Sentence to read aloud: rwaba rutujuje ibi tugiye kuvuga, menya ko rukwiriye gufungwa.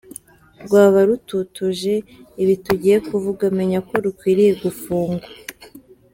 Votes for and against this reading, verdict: 0, 2, rejected